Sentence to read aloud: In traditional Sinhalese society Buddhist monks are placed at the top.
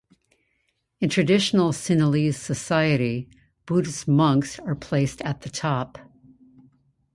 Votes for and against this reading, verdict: 2, 0, accepted